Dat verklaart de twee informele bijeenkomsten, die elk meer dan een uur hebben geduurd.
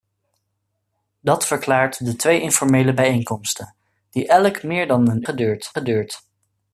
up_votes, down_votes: 0, 2